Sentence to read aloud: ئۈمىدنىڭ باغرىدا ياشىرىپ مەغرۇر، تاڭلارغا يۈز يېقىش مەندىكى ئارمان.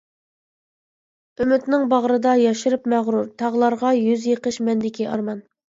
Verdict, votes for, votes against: rejected, 1, 2